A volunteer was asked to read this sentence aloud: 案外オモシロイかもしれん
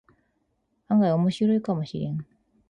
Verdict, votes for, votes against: accepted, 12, 2